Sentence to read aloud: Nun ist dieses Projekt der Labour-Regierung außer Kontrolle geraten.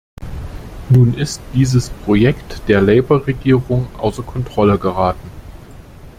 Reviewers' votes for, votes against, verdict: 2, 0, accepted